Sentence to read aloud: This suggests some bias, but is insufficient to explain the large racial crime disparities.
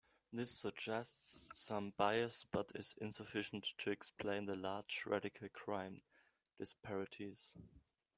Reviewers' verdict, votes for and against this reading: rejected, 0, 2